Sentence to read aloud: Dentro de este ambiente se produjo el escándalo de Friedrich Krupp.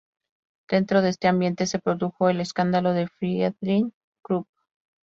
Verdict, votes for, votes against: accepted, 2, 0